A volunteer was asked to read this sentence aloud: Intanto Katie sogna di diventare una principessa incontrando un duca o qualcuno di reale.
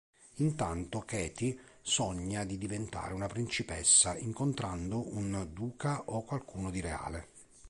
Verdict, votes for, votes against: accepted, 2, 0